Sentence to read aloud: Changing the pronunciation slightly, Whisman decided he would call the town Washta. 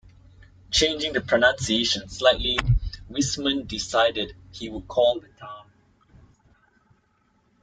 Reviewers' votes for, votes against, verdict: 0, 2, rejected